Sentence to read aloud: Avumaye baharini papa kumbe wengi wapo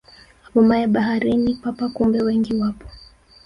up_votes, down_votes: 1, 2